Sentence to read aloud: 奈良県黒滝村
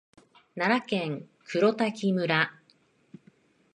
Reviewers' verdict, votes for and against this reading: accepted, 2, 0